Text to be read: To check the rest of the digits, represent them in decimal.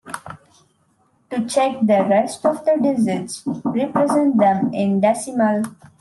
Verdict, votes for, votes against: accepted, 2, 0